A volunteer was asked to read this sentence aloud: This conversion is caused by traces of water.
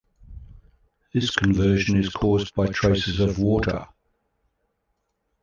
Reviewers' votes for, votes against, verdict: 2, 1, accepted